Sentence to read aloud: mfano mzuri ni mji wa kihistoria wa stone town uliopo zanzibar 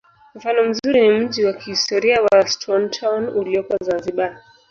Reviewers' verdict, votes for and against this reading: rejected, 0, 2